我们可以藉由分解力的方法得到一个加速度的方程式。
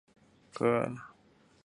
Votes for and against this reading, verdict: 0, 2, rejected